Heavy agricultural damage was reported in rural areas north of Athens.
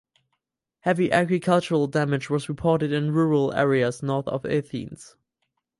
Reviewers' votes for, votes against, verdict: 4, 0, accepted